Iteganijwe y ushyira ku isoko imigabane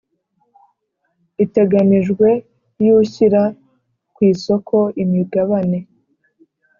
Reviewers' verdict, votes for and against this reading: accepted, 2, 0